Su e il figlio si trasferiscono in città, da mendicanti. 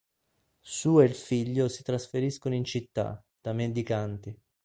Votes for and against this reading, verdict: 2, 0, accepted